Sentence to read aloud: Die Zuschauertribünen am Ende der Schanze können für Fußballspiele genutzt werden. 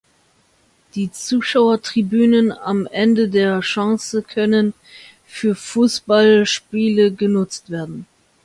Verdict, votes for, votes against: accepted, 2, 0